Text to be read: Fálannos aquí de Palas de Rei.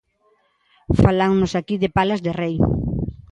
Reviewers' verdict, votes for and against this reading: accepted, 2, 0